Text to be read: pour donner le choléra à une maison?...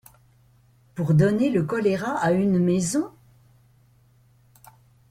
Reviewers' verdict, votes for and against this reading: rejected, 1, 2